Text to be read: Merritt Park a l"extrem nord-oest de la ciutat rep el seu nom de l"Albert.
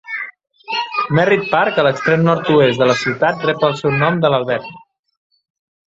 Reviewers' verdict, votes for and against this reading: rejected, 0, 2